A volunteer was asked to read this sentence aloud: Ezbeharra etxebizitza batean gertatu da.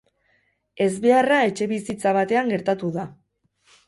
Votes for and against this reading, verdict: 2, 2, rejected